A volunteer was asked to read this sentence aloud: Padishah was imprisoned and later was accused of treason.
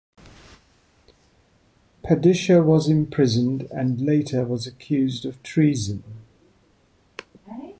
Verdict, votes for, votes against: accepted, 2, 0